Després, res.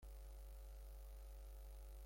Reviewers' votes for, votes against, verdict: 0, 2, rejected